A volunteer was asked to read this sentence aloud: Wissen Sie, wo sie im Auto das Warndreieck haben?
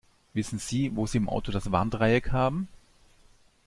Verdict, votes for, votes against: accepted, 2, 1